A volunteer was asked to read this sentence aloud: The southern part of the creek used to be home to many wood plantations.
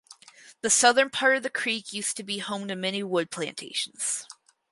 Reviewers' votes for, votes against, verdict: 6, 0, accepted